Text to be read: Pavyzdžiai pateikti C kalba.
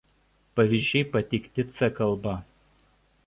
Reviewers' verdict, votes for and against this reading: rejected, 1, 2